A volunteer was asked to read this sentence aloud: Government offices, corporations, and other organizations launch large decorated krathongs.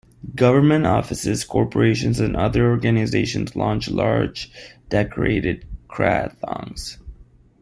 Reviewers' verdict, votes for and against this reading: accepted, 2, 0